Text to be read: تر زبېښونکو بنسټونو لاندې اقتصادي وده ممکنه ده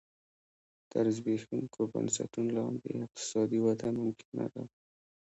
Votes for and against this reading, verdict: 0, 2, rejected